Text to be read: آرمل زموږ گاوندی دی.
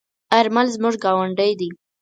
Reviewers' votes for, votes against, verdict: 4, 0, accepted